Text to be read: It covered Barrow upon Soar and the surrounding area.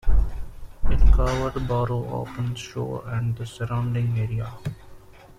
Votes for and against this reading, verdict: 1, 2, rejected